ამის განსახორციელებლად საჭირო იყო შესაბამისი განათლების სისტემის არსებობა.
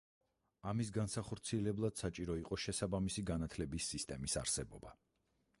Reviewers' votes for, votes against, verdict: 4, 0, accepted